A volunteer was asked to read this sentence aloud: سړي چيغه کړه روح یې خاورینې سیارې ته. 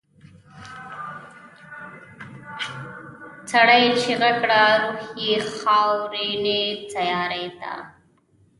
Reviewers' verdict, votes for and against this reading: rejected, 0, 2